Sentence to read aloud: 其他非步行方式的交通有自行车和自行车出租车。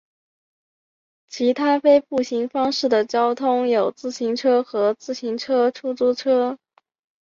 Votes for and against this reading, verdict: 4, 0, accepted